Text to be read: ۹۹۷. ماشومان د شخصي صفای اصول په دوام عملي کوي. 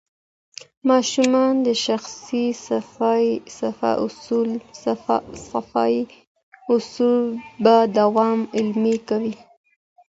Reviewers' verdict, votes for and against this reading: rejected, 0, 2